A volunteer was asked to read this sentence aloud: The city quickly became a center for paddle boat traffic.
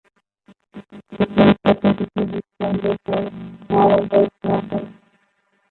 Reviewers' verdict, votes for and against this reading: rejected, 0, 2